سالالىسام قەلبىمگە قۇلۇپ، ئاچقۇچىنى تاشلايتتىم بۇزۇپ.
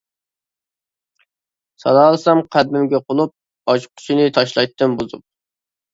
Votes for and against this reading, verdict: 1, 2, rejected